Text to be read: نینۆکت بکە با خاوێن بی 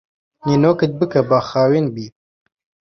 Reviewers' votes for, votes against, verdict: 1, 2, rejected